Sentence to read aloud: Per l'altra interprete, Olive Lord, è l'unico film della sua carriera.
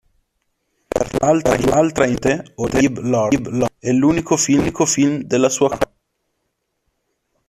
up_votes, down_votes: 0, 2